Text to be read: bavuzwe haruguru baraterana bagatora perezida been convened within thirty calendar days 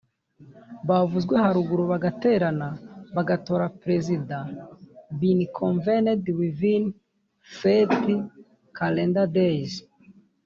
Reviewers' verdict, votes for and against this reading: rejected, 0, 2